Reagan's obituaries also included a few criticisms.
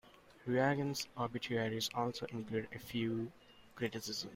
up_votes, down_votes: 2, 1